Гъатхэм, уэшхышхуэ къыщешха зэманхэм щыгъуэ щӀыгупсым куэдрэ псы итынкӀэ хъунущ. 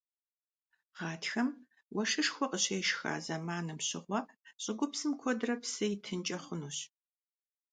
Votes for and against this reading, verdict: 0, 2, rejected